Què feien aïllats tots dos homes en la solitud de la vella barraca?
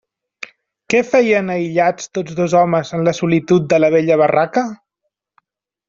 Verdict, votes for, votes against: accepted, 3, 0